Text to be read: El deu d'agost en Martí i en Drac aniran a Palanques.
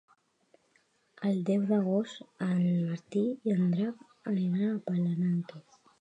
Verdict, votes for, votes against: rejected, 1, 2